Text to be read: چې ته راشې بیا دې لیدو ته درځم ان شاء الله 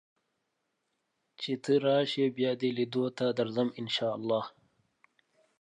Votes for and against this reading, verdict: 2, 0, accepted